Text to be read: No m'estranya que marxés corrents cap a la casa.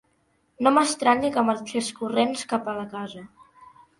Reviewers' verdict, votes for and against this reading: accepted, 2, 0